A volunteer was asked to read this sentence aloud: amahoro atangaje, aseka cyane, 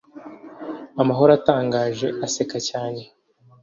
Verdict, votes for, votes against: accepted, 2, 0